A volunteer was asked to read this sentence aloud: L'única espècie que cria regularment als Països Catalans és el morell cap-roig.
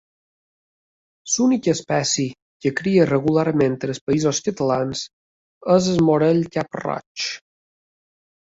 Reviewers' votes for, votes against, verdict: 0, 2, rejected